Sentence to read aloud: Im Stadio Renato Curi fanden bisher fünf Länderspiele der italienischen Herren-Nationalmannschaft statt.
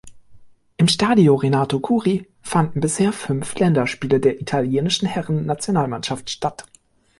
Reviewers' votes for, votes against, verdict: 2, 0, accepted